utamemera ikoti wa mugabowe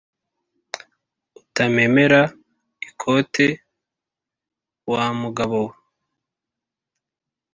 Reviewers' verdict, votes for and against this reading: accepted, 2, 0